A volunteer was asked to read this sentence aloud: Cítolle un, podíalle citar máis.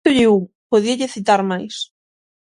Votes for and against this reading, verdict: 0, 6, rejected